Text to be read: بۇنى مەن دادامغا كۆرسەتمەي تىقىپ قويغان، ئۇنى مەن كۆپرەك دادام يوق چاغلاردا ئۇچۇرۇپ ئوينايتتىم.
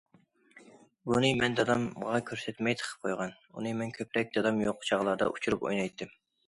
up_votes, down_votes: 2, 0